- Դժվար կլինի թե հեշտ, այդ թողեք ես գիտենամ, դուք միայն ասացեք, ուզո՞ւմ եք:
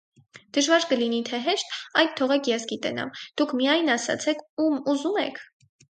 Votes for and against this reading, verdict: 4, 0, accepted